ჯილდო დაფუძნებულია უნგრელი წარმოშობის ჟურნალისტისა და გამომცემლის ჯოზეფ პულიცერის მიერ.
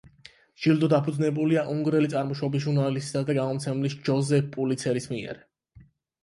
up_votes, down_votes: 8, 0